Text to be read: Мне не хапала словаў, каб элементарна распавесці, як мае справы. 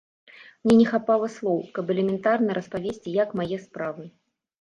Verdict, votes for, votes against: rejected, 0, 2